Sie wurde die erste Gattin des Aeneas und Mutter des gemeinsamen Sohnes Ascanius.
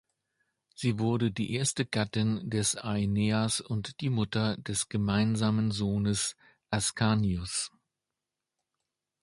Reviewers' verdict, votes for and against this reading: rejected, 0, 2